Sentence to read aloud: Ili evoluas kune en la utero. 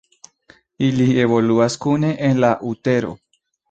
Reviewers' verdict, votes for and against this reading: accepted, 2, 0